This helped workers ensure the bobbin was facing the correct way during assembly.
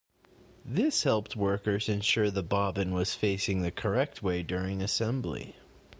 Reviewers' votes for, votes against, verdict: 2, 0, accepted